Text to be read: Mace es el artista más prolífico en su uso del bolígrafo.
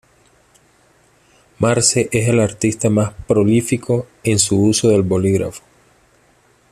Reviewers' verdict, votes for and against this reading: rejected, 0, 2